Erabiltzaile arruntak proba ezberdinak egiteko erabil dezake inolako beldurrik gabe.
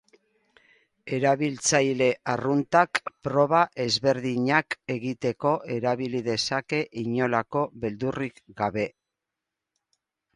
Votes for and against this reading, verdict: 0, 4, rejected